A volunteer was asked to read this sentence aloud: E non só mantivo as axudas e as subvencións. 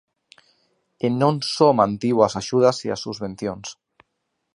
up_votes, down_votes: 0, 2